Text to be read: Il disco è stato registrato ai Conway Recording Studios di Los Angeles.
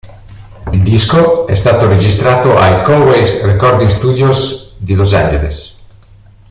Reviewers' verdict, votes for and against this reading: rejected, 0, 2